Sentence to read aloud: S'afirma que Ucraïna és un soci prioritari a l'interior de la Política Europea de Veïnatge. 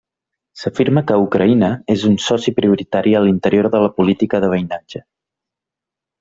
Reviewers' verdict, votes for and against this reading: rejected, 0, 2